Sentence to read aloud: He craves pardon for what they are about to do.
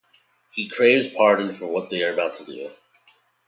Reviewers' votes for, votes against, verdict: 2, 0, accepted